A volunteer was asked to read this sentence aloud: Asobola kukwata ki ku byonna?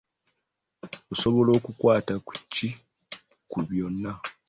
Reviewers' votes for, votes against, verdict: 1, 2, rejected